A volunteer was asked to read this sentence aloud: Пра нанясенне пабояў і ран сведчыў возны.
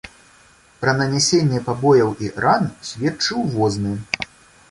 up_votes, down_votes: 2, 0